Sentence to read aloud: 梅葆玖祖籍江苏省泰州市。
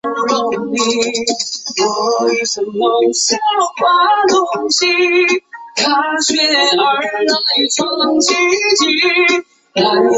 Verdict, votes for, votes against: rejected, 0, 3